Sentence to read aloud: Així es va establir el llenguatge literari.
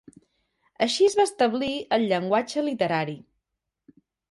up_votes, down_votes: 3, 0